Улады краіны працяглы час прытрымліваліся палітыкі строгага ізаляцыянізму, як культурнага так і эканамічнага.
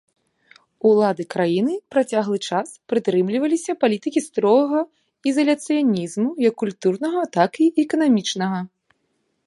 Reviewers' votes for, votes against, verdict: 2, 0, accepted